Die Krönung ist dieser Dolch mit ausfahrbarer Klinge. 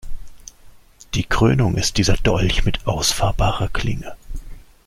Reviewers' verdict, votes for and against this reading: accepted, 2, 0